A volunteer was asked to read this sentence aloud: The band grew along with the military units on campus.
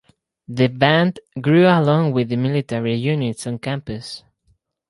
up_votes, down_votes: 4, 0